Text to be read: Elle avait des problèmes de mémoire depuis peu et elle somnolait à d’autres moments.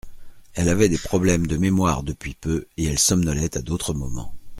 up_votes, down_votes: 2, 0